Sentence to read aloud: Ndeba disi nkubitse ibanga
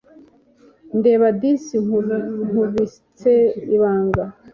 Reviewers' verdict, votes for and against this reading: rejected, 1, 2